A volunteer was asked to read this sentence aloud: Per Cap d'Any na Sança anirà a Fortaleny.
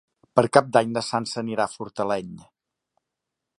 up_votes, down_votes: 3, 0